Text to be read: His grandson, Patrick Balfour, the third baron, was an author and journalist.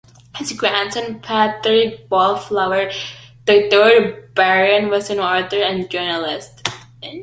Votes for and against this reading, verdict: 1, 2, rejected